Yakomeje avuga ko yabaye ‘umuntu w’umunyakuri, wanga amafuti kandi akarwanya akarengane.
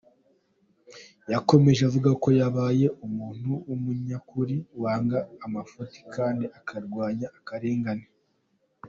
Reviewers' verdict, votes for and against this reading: accepted, 2, 1